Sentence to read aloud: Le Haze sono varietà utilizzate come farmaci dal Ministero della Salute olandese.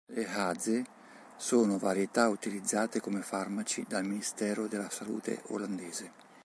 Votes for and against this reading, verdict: 3, 0, accepted